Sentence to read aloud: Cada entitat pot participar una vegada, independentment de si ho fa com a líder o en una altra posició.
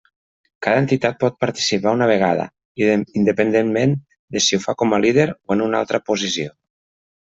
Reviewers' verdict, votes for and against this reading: rejected, 0, 2